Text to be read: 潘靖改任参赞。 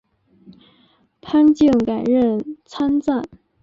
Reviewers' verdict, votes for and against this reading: accepted, 4, 0